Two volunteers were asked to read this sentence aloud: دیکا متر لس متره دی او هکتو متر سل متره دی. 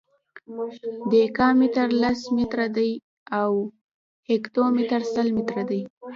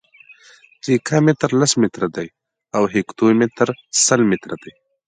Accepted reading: second